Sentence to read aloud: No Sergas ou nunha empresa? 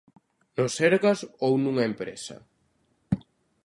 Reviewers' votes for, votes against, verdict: 2, 0, accepted